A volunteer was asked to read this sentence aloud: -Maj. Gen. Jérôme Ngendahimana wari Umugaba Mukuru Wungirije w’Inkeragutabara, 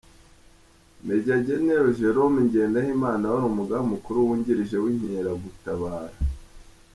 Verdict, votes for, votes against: accepted, 2, 1